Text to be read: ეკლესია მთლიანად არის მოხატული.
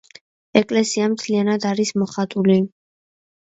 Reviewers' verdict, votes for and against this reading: rejected, 1, 2